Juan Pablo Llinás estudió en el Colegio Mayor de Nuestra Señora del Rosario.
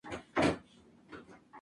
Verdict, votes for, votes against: rejected, 0, 4